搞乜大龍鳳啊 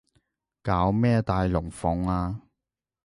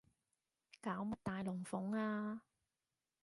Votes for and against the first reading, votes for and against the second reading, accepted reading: 0, 2, 2, 1, second